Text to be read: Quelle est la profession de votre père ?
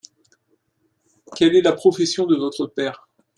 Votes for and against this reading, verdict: 2, 0, accepted